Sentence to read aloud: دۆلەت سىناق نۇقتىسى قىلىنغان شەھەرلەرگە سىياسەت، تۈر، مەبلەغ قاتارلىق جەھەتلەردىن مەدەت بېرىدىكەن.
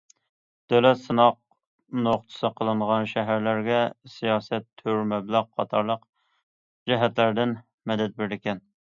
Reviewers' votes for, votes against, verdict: 2, 0, accepted